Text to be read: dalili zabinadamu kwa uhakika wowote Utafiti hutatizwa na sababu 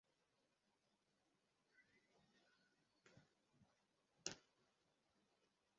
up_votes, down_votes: 0, 2